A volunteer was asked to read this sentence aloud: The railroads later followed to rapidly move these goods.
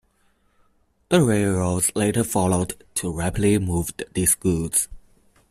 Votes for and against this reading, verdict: 1, 2, rejected